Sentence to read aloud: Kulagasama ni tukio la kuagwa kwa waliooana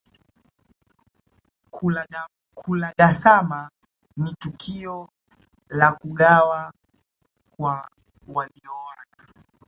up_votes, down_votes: 1, 2